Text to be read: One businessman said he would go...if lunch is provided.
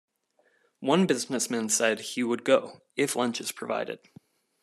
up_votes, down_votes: 2, 0